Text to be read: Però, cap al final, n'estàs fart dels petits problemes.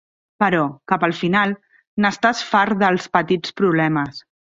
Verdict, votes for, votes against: accepted, 3, 0